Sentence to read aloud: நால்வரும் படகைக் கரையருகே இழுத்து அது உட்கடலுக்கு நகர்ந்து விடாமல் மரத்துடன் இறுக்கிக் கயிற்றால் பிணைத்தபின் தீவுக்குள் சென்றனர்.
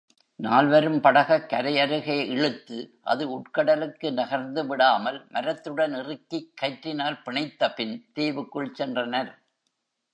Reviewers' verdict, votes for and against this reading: rejected, 0, 2